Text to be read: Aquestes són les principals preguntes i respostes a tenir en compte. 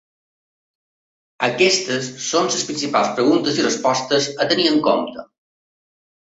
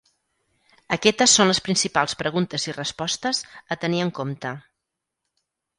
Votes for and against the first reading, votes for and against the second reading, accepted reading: 2, 1, 0, 4, first